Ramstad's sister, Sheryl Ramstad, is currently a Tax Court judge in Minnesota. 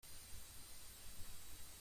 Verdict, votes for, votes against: rejected, 1, 2